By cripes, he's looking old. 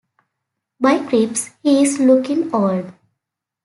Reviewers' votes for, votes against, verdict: 0, 2, rejected